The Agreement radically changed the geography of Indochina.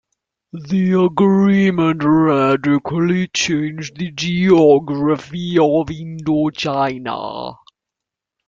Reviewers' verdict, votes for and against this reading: accepted, 2, 0